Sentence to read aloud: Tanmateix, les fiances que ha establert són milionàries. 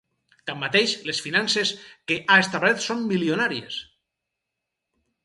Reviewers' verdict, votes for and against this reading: rejected, 0, 4